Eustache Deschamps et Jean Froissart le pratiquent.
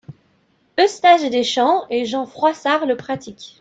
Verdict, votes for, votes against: accepted, 2, 1